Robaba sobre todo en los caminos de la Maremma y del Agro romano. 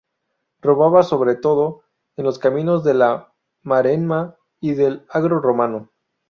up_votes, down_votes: 4, 0